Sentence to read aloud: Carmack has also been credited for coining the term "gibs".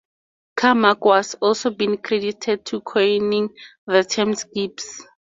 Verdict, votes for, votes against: rejected, 0, 2